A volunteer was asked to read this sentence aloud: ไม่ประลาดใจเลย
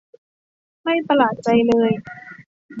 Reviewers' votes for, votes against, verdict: 0, 2, rejected